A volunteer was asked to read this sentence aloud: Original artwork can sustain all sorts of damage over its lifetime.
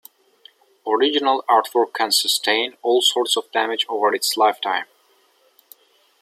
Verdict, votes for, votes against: accepted, 2, 0